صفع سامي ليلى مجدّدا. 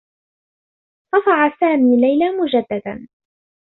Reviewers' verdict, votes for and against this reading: accepted, 2, 0